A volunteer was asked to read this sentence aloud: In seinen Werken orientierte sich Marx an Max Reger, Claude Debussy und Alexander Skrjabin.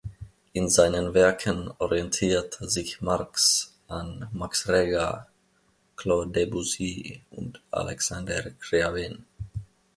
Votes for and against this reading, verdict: 1, 2, rejected